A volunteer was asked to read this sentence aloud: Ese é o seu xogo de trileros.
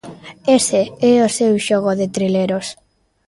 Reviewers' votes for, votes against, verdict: 2, 0, accepted